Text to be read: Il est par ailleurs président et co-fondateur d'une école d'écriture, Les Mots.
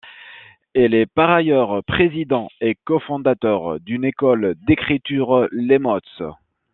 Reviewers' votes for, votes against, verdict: 1, 2, rejected